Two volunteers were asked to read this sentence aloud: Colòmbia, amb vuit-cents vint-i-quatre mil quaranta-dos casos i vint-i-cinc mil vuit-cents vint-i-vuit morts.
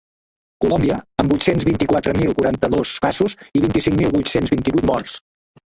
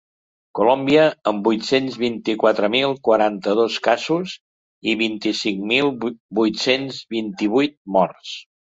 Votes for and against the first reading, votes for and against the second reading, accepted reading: 3, 2, 1, 2, first